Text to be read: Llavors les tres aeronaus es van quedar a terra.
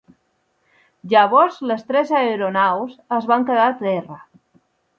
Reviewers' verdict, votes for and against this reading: rejected, 1, 2